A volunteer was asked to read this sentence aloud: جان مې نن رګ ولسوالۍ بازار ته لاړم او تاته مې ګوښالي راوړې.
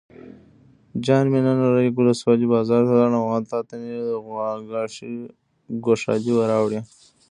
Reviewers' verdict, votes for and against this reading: rejected, 0, 2